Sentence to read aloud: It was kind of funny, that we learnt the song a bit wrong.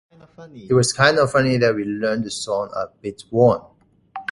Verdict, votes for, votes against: rejected, 1, 2